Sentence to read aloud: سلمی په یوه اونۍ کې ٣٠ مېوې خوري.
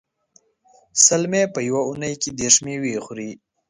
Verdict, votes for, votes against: rejected, 0, 2